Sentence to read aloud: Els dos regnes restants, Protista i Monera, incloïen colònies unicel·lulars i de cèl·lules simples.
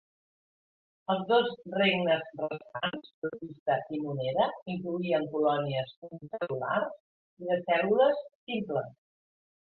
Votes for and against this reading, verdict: 0, 2, rejected